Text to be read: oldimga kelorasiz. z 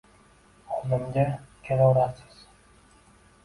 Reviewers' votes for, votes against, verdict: 0, 2, rejected